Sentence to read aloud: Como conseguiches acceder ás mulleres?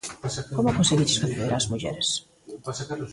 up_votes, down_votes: 0, 2